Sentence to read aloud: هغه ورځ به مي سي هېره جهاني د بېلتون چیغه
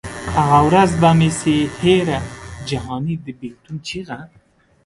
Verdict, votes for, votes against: rejected, 0, 2